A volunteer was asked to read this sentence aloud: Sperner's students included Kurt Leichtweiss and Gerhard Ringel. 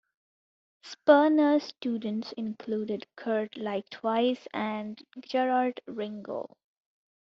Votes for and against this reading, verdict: 1, 2, rejected